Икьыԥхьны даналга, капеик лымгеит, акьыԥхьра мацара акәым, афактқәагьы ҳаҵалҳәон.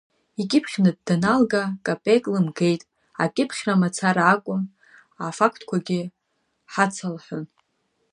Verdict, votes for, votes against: rejected, 1, 2